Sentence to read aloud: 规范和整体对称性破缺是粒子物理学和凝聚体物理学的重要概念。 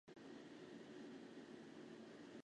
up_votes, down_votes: 2, 4